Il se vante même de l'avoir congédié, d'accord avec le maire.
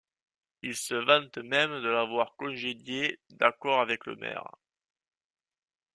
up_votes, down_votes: 2, 0